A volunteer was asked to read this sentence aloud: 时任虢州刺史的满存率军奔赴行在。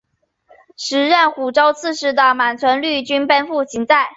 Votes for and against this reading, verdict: 2, 1, accepted